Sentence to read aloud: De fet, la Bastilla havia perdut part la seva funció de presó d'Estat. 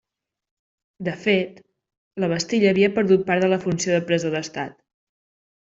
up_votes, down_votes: 0, 2